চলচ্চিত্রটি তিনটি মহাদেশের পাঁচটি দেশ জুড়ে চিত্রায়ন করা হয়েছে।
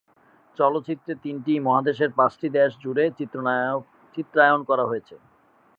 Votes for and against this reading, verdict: 1, 4, rejected